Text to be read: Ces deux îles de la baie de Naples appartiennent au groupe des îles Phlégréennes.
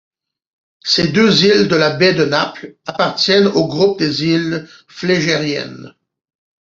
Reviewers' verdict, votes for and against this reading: rejected, 0, 2